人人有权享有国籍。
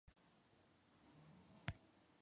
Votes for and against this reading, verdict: 0, 2, rejected